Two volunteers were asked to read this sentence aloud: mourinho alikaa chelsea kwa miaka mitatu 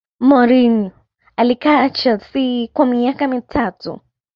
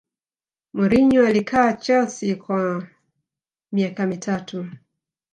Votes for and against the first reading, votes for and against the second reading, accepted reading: 0, 2, 2, 0, second